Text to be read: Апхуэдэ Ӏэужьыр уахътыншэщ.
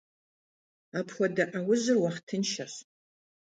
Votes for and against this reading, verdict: 2, 0, accepted